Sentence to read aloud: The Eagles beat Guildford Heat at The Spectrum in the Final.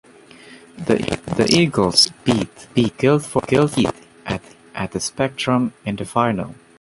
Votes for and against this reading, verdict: 0, 2, rejected